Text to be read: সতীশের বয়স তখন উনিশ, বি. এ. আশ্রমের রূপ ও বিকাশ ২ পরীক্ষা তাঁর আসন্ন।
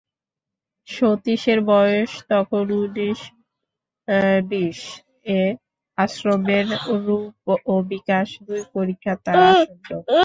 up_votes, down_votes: 0, 2